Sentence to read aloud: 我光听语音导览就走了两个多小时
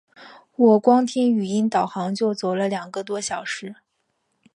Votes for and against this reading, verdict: 0, 2, rejected